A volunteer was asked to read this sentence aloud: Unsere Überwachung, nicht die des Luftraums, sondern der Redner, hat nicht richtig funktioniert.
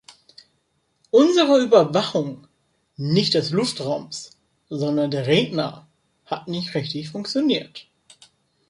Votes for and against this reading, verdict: 0, 2, rejected